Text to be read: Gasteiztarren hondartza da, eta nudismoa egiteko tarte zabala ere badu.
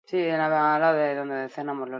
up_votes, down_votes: 0, 4